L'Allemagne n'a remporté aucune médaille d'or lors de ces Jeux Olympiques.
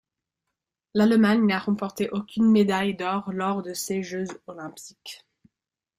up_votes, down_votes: 0, 2